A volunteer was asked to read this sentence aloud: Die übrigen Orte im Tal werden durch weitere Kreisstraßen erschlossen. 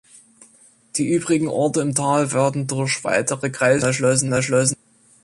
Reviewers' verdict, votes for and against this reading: rejected, 0, 2